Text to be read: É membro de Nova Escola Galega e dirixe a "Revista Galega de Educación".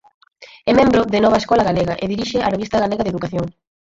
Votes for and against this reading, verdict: 0, 4, rejected